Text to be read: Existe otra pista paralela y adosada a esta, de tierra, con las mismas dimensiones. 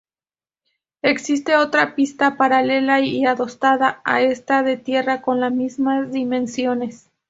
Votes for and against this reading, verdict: 0, 4, rejected